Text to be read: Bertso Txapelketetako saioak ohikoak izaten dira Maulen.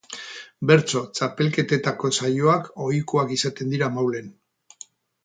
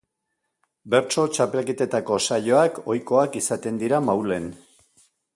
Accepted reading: second